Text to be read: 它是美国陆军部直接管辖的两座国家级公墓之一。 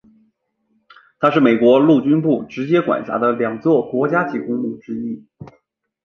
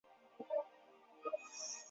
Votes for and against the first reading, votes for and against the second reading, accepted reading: 2, 0, 0, 3, first